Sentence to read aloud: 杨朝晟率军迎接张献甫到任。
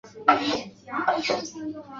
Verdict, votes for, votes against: rejected, 0, 2